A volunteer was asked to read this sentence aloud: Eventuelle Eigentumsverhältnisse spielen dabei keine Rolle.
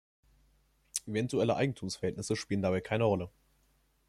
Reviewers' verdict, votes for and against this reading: rejected, 0, 2